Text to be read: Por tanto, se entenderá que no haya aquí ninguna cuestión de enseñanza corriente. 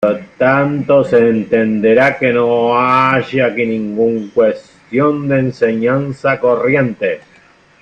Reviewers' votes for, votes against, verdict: 0, 2, rejected